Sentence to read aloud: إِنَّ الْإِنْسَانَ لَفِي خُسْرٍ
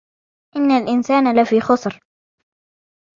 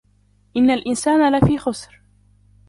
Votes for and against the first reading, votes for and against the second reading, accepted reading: 1, 2, 2, 0, second